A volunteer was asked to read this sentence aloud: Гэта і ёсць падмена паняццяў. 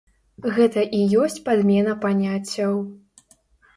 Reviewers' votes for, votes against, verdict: 2, 0, accepted